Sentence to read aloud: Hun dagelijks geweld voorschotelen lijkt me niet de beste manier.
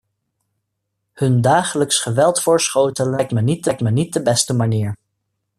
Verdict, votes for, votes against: rejected, 0, 2